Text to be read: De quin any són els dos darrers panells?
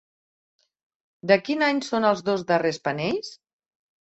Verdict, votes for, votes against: accepted, 3, 0